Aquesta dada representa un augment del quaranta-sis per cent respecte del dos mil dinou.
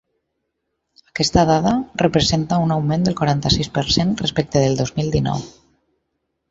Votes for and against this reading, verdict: 6, 0, accepted